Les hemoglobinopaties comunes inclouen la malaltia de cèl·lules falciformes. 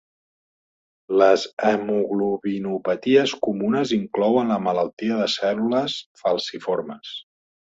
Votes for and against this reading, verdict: 2, 0, accepted